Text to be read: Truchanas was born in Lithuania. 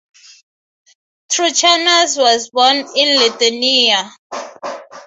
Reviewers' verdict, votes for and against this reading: rejected, 0, 6